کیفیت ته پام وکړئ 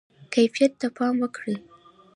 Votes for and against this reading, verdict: 2, 0, accepted